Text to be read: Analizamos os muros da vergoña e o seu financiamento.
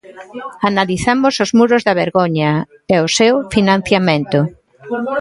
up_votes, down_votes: 2, 0